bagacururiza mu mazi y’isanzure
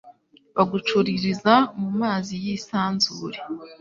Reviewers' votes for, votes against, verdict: 2, 0, accepted